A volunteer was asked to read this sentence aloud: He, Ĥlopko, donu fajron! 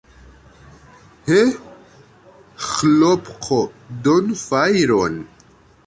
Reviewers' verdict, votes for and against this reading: rejected, 1, 2